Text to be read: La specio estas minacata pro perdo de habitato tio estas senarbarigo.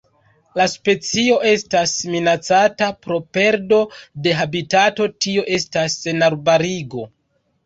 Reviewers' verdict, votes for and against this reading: accepted, 2, 0